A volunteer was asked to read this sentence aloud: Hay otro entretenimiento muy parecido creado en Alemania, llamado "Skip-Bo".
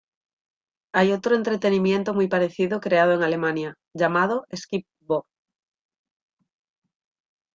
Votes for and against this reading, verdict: 3, 0, accepted